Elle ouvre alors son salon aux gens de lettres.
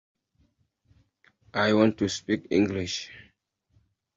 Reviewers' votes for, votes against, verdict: 0, 2, rejected